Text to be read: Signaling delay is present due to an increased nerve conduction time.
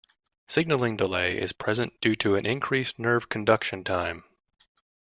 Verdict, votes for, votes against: accepted, 2, 0